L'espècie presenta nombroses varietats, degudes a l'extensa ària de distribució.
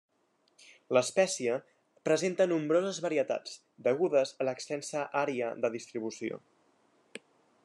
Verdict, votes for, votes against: accepted, 2, 0